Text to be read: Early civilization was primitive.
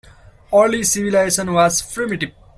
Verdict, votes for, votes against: rejected, 0, 2